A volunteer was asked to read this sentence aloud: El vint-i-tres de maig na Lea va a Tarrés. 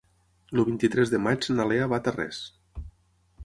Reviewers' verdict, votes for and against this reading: rejected, 0, 6